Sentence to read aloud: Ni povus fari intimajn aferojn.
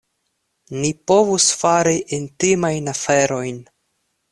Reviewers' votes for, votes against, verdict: 2, 0, accepted